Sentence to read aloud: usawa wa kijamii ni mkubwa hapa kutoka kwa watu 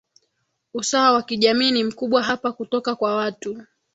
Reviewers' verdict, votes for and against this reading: accepted, 2, 1